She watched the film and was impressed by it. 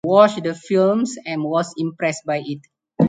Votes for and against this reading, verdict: 0, 2, rejected